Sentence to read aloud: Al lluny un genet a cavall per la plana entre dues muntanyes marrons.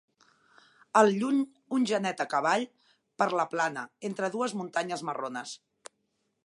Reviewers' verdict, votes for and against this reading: rejected, 0, 2